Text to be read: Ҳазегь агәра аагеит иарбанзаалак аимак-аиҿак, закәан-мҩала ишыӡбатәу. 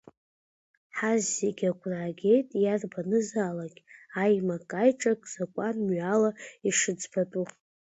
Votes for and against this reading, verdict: 3, 1, accepted